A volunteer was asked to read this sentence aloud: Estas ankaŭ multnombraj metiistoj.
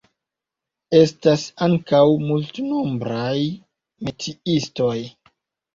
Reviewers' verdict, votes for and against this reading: accepted, 2, 0